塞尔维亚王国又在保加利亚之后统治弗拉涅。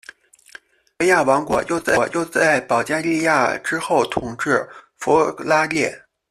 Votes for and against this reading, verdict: 1, 2, rejected